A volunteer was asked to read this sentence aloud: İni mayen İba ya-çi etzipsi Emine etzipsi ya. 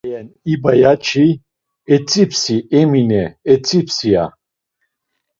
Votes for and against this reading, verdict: 0, 2, rejected